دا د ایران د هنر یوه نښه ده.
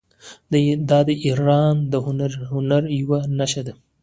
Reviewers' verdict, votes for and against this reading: accepted, 2, 1